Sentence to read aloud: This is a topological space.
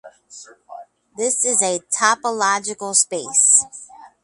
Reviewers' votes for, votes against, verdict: 4, 0, accepted